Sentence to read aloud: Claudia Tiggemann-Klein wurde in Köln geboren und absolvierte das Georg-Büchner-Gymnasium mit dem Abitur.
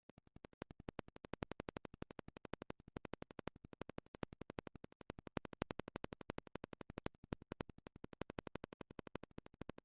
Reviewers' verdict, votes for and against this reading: rejected, 0, 2